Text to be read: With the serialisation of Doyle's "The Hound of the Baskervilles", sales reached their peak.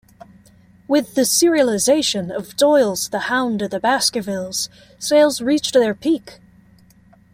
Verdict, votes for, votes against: accepted, 2, 0